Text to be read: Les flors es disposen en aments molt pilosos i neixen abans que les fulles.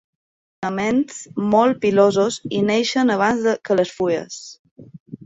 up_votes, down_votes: 0, 2